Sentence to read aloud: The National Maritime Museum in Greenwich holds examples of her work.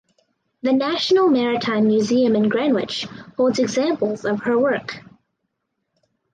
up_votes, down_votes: 4, 2